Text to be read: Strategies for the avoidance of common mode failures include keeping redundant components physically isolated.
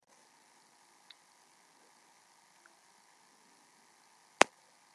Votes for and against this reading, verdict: 0, 2, rejected